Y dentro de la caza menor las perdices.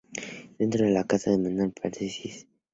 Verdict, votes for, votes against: accepted, 2, 0